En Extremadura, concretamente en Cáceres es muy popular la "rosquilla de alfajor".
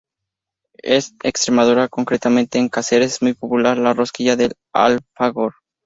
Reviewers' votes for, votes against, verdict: 0, 2, rejected